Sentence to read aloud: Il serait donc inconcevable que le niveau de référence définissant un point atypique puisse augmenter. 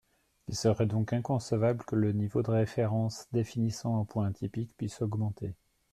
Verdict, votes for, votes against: accepted, 2, 0